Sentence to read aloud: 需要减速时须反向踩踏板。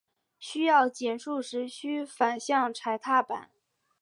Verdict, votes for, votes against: accepted, 2, 0